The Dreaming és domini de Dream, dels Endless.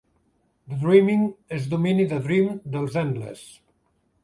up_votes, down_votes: 3, 1